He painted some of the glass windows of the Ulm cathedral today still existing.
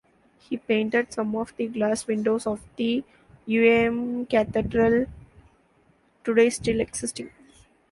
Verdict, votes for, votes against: rejected, 0, 2